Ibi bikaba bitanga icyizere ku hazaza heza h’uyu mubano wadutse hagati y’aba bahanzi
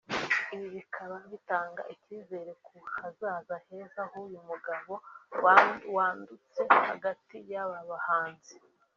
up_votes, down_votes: 0, 3